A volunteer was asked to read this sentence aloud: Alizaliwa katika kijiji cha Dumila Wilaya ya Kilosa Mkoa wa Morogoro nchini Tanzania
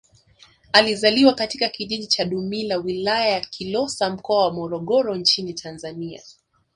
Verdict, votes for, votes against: rejected, 0, 2